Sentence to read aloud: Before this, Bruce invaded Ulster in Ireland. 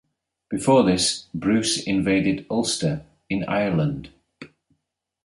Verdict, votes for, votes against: accepted, 2, 0